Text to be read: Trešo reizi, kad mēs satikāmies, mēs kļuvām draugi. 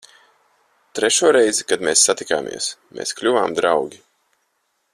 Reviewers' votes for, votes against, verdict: 4, 0, accepted